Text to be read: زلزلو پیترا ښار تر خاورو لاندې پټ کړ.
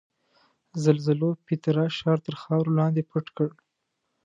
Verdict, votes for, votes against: accepted, 2, 0